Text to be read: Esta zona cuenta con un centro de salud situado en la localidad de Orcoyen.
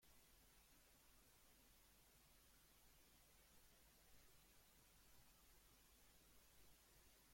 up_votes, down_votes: 0, 2